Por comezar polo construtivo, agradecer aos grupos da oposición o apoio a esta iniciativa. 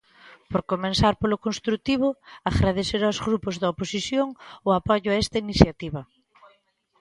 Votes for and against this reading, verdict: 2, 0, accepted